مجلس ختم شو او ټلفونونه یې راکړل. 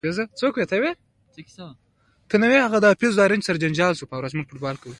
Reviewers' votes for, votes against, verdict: 2, 1, accepted